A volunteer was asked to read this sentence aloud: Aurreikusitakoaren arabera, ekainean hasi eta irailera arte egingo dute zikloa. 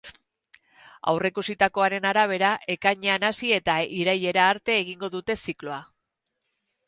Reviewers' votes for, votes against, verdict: 6, 0, accepted